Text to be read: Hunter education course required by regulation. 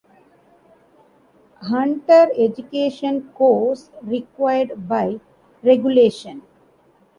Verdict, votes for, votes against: accepted, 2, 0